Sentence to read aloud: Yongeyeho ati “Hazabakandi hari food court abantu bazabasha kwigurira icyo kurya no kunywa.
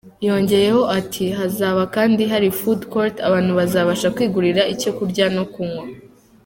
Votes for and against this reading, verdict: 2, 0, accepted